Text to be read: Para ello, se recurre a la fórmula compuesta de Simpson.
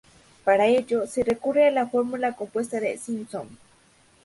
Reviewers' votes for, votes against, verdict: 2, 0, accepted